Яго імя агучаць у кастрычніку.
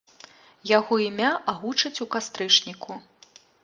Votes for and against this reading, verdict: 2, 0, accepted